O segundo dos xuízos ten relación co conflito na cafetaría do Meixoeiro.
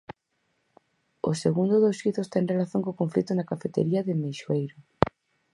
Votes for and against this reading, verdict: 0, 4, rejected